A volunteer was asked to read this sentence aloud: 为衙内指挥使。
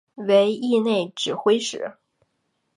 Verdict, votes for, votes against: rejected, 2, 2